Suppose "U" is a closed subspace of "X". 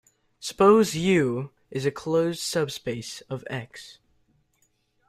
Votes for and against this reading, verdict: 2, 0, accepted